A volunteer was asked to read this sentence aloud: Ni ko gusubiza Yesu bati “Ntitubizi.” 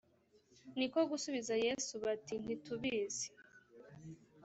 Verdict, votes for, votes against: accepted, 2, 0